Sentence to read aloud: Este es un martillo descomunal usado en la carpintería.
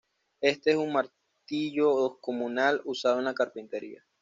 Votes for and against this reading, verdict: 2, 0, accepted